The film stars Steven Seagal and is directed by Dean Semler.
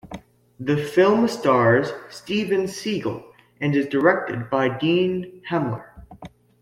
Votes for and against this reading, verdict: 0, 2, rejected